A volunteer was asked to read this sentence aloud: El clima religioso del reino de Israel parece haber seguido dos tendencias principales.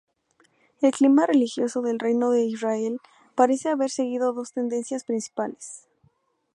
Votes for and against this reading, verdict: 2, 2, rejected